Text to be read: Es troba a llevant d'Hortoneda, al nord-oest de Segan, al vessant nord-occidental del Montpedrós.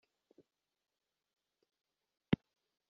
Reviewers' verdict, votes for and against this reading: rejected, 0, 2